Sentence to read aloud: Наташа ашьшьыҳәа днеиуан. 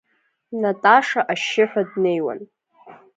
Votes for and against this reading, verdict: 2, 0, accepted